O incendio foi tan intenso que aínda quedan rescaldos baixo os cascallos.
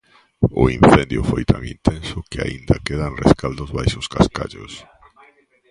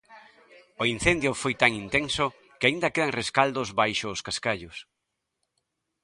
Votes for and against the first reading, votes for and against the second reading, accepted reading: 0, 2, 3, 0, second